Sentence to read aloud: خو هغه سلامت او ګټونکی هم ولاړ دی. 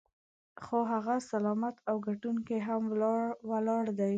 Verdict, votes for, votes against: rejected, 1, 2